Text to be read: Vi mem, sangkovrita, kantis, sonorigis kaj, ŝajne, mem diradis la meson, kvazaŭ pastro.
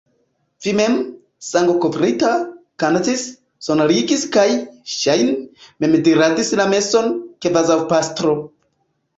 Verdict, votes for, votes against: accepted, 2, 0